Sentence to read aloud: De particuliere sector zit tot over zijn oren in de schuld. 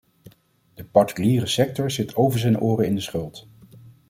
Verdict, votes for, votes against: rejected, 0, 2